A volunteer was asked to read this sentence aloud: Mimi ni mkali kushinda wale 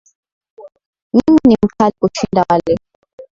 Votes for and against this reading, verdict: 0, 2, rejected